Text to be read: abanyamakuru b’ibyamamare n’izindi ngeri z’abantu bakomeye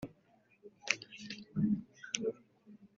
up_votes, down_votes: 0, 2